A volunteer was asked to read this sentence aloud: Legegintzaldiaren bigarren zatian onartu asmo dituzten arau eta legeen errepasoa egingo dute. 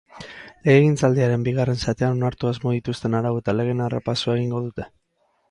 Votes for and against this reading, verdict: 4, 0, accepted